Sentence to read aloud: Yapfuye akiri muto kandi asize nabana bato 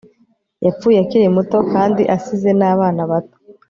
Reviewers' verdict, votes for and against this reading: accepted, 2, 0